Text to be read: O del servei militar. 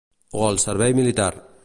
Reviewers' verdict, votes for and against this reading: rejected, 1, 3